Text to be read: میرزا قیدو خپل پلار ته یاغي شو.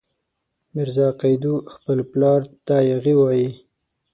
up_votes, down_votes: 0, 6